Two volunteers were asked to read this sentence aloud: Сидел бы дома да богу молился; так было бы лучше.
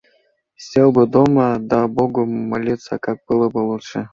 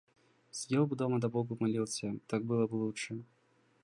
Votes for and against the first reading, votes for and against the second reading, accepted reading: 0, 2, 2, 0, second